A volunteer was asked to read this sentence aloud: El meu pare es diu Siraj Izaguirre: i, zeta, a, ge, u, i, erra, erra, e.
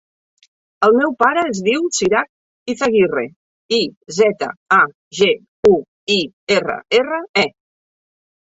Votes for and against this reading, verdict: 2, 0, accepted